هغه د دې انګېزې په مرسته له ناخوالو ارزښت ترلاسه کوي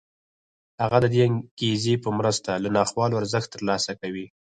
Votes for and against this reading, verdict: 0, 4, rejected